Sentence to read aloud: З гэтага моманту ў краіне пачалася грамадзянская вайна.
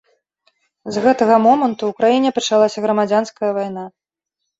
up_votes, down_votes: 2, 0